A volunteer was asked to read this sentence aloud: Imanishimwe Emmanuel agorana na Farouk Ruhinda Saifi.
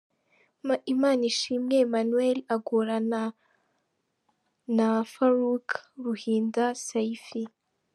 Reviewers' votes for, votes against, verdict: 0, 2, rejected